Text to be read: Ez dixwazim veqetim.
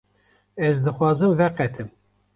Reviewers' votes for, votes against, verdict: 2, 0, accepted